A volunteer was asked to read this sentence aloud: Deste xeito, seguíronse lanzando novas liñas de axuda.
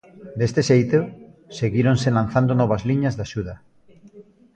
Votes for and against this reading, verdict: 1, 2, rejected